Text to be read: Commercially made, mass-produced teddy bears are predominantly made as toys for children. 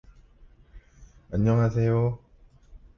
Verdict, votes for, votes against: rejected, 0, 2